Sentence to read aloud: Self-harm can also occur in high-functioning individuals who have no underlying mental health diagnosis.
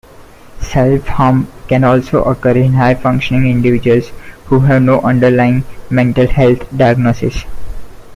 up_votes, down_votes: 2, 0